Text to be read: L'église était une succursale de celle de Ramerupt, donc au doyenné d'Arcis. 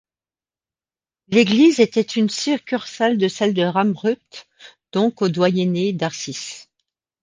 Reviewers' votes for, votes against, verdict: 1, 2, rejected